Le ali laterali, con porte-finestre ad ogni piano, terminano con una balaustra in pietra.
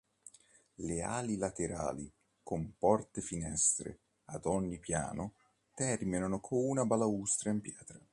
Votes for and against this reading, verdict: 1, 2, rejected